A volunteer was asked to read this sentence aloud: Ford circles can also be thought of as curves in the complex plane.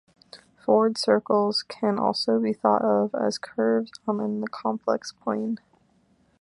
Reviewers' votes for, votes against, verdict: 0, 2, rejected